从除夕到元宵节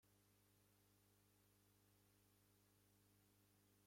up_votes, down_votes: 0, 2